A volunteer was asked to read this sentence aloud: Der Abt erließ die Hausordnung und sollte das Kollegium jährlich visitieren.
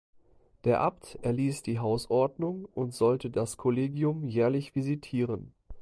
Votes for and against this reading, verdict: 2, 0, accepted